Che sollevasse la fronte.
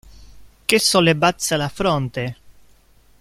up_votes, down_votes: 1, 2